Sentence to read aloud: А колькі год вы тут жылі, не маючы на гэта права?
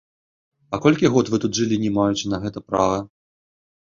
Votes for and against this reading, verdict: 2, 0, accepted